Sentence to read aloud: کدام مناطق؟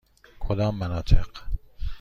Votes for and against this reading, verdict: 2, 0, accepted